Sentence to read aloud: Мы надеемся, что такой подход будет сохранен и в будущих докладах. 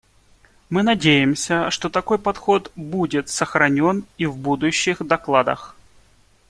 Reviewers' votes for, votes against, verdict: 2, 1, accepted